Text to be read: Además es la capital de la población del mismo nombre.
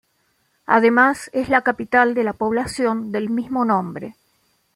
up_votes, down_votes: 2, 0